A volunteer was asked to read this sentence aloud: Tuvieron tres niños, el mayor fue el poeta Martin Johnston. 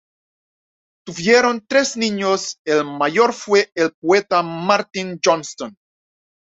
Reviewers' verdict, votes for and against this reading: accepted, 2, 0